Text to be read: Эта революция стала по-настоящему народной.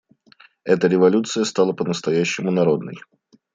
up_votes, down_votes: 2, 0